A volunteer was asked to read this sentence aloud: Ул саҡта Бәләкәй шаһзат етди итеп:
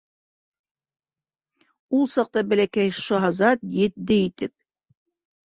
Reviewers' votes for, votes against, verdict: 0, 2, rejected